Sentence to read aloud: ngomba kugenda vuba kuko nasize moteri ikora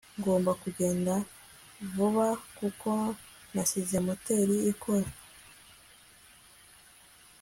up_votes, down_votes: 3, 0